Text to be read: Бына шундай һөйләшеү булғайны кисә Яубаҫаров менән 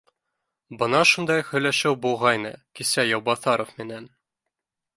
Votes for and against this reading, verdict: 1, 2, rejected